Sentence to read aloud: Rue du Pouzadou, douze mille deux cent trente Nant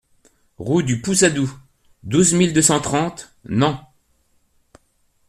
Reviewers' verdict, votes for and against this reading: accepted, 2, 0